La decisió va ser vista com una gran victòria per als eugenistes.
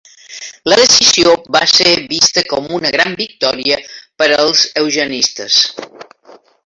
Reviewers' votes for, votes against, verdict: 2, 0, accepted